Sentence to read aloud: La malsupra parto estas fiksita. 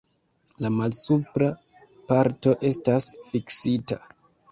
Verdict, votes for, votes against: accepted, 2, 0